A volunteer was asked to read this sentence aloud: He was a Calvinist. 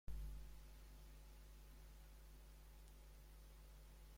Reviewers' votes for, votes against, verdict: 0, 2, rejected